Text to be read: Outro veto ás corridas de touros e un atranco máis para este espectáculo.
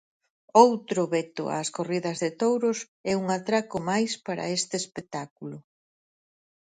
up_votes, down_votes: 0, 4